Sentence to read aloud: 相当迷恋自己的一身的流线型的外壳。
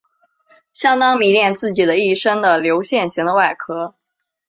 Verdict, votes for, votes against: accepted, 2, 0